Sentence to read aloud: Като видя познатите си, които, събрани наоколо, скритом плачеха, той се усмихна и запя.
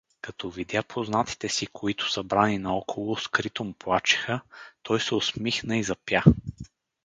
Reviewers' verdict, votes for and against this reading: accepted, 4, 0